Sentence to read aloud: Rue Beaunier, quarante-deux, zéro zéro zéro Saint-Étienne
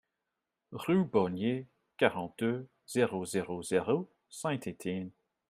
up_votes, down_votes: 2, 0